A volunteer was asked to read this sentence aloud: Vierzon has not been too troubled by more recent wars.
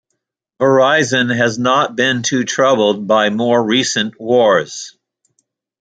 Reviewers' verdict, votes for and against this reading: rejected, 0, 2